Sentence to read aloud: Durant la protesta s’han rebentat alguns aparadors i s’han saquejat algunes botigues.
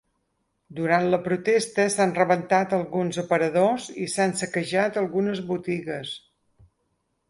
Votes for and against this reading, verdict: 4, 0, accepted